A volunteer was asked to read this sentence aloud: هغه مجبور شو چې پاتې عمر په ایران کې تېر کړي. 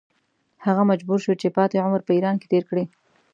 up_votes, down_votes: 2, 0